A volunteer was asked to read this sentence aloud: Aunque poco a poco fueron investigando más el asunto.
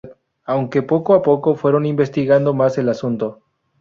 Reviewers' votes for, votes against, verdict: 0, 2, rejected